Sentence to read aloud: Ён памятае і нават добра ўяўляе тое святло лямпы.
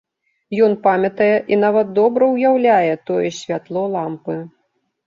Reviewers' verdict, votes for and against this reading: rejected, 1, 2